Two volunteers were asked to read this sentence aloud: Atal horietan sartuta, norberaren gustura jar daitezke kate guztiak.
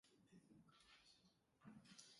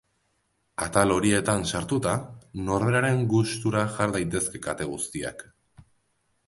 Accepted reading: second